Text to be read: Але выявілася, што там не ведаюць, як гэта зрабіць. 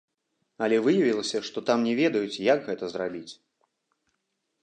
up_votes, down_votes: 2, 0